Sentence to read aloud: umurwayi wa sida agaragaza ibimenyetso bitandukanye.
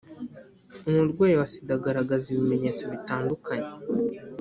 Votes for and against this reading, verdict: 2, 0, accepted